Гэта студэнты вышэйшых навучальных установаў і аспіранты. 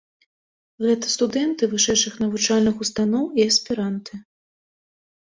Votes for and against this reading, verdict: 0, 2, rejected